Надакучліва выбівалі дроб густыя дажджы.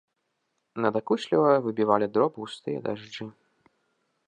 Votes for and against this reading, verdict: 2, 0, accepted